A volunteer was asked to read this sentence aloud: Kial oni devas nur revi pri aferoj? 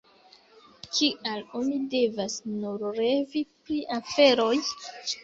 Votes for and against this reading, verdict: 2, 1, accepted